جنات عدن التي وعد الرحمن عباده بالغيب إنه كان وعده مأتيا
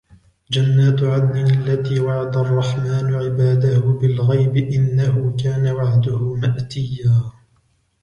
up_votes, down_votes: 3, 1